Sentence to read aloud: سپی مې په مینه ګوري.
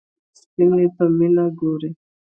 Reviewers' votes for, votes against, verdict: 0, 2, rejected